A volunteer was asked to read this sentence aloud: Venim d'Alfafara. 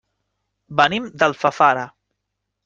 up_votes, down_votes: 3, 0